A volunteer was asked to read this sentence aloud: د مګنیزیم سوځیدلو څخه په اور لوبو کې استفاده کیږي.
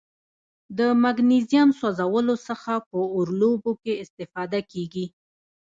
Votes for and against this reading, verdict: 2, 0, accepted